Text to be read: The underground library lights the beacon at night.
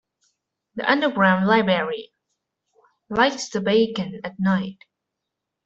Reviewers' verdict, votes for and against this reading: rejected, 0, 2